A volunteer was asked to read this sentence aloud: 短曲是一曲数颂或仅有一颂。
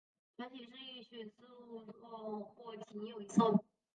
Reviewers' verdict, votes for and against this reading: rejected, 0, 3